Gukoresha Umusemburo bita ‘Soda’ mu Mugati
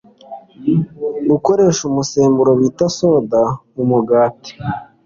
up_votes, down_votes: 2, 0